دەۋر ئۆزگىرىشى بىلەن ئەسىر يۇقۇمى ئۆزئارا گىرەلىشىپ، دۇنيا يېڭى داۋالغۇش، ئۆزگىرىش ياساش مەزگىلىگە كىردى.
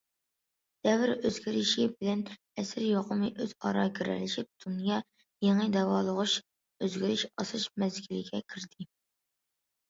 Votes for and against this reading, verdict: 0, 2, rejected